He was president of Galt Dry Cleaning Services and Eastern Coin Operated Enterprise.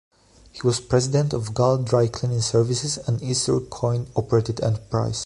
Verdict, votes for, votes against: rejected, 1, 2